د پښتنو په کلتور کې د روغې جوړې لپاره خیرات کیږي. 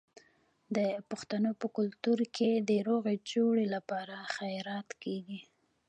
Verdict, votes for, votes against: rejected, 2, 2